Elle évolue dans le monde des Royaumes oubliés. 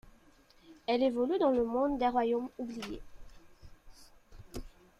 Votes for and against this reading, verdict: 2, 0, accepted